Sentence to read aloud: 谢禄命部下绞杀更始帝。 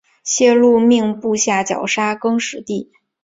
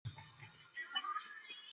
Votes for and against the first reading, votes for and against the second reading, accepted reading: 2, 1, 0, 2, first